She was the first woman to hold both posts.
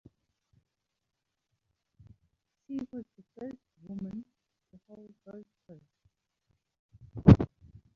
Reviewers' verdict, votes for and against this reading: rejected, 1, 2